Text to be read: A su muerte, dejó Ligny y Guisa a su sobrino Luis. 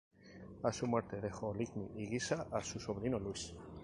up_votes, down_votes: 2, 2